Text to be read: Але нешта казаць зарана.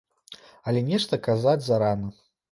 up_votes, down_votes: 2, 0